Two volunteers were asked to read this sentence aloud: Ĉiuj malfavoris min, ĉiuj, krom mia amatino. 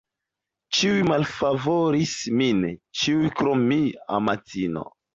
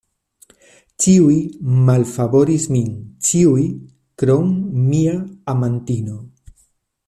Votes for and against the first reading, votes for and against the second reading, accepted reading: 1, 2, 2, 1, second